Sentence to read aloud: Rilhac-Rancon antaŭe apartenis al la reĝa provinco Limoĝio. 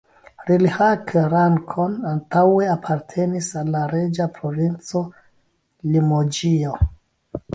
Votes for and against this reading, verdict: 1, 3, rejected